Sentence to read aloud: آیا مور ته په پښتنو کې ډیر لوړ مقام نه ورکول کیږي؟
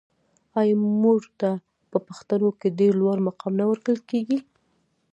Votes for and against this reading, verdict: 1, 2, rejected